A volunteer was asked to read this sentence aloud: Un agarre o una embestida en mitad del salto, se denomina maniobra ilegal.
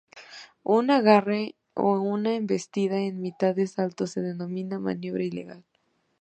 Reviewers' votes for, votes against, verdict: 2, 1, accepted